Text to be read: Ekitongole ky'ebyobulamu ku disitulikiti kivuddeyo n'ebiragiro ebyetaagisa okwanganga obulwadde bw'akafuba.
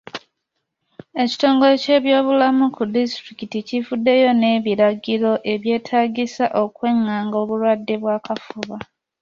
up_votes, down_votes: 2, 0